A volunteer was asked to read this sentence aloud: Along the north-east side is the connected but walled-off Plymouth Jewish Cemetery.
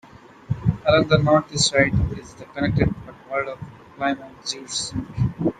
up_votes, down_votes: 2, 1